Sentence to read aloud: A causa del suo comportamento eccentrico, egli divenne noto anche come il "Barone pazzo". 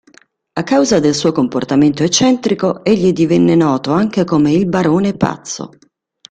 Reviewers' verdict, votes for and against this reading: accepted, 2, 0